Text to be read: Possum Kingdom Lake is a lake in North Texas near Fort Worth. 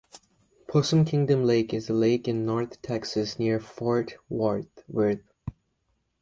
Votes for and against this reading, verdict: 1, 2, rejected